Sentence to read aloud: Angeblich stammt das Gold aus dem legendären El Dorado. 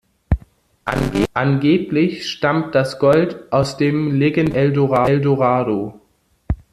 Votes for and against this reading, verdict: 0, 2, rejected